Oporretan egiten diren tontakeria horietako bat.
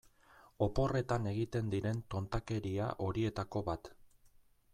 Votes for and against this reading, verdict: 2, 0, accepted